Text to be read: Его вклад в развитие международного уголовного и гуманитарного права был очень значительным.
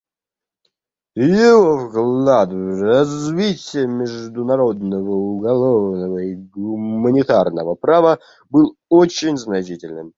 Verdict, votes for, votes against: rejected, 1, 2